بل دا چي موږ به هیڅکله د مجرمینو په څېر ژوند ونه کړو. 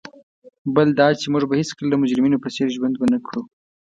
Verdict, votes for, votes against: accepted, 2, 0